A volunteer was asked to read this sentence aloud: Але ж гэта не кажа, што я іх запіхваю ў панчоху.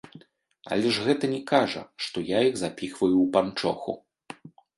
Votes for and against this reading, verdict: 0, 2, rejected